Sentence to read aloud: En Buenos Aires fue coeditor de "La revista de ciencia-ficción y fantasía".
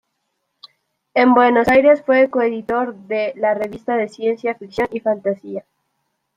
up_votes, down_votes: 2, 1